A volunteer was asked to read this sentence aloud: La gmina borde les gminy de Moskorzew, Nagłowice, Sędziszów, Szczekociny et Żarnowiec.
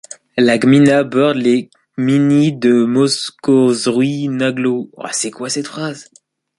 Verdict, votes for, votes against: rejected, 0, 2